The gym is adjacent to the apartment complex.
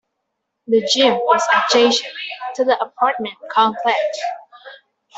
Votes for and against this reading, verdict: 0, 2, rejected